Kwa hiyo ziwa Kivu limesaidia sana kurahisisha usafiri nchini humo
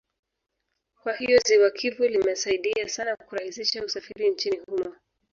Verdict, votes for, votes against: rejected, 1, 3